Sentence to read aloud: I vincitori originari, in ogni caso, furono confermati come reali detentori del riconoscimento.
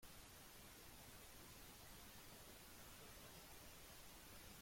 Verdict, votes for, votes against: rejected, 0, 2